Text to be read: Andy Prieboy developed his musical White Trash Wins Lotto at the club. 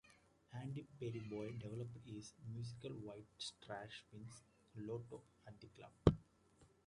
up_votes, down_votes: 1, 2